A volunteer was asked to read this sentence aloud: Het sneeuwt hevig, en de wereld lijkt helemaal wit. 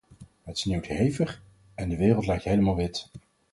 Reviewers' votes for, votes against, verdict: 4, 0, accepted